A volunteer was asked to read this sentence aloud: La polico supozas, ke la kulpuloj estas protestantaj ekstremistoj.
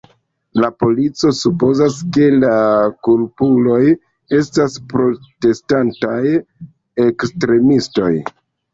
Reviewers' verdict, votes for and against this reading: accepted, 2, 0